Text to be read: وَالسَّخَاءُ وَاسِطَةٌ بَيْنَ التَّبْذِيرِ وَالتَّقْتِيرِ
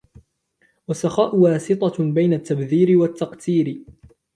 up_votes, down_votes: 2, 1